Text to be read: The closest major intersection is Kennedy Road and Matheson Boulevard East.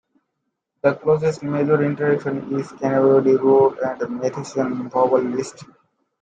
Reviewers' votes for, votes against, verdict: 1, 3, rejected